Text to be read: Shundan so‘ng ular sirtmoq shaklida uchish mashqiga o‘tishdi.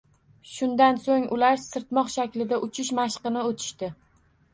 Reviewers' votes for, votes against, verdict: 1, 2, rejected